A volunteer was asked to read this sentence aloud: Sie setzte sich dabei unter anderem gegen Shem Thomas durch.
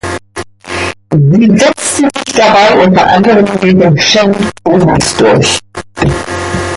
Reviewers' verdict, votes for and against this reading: rejected, 0, 2